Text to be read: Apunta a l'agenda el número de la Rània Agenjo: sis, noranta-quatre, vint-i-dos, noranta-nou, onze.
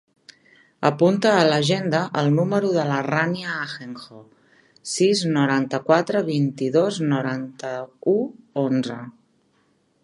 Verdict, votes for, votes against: rejected, 0, 2